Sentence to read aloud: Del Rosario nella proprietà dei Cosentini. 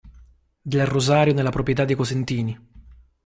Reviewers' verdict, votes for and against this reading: rejected, 1, 2